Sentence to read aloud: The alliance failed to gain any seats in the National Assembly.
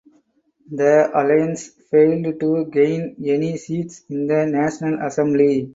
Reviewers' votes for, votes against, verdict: 4, 2, accepted